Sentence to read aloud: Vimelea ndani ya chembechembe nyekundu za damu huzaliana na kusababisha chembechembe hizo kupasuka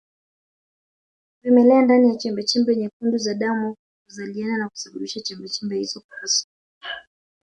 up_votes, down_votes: 4, 2